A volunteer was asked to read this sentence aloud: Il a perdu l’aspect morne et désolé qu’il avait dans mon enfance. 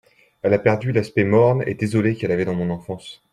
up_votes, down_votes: 1, 2